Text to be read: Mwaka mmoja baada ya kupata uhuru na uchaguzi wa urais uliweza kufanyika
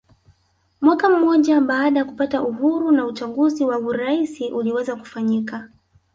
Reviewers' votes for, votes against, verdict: 0, 2, rejected